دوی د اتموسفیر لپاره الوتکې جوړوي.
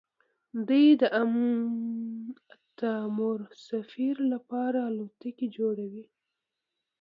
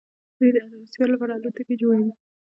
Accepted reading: second